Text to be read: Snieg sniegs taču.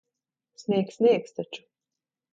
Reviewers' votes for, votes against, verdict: 0, 2, rejected